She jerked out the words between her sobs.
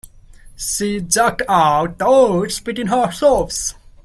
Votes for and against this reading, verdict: 0, 2, rejected